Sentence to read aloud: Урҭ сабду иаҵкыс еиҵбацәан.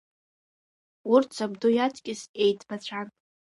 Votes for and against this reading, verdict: 2, 0, accepted